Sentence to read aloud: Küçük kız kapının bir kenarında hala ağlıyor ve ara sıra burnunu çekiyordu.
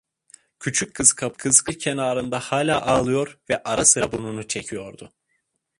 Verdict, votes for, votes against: rejected, 0, 2